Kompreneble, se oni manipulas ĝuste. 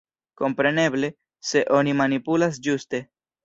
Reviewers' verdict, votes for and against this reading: accepted, 3, 0